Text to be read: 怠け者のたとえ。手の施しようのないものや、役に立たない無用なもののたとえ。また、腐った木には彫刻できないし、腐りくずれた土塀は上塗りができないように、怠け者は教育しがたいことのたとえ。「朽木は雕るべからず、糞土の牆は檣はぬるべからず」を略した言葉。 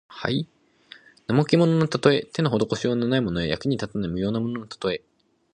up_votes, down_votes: 0, 2